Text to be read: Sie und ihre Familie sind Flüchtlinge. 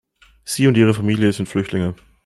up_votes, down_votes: 2, 0